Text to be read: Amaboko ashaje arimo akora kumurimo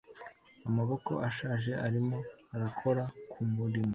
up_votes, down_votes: 2, 0